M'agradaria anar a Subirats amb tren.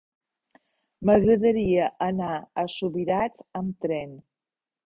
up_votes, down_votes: 3, 0